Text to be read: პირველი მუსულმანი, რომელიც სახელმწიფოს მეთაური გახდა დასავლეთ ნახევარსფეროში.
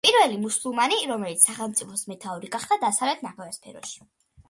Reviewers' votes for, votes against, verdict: 2, 1, accepted